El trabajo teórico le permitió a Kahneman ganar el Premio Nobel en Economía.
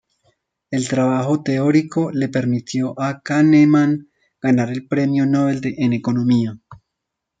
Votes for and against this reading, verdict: 1, 2, rejected